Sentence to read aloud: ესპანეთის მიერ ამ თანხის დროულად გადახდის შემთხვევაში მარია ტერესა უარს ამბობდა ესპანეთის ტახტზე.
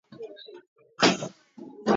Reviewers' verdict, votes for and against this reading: rejected, 0, 2